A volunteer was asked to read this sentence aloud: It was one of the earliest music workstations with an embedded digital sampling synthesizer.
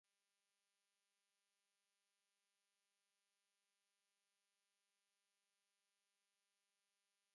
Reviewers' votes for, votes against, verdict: 0, 2, rejected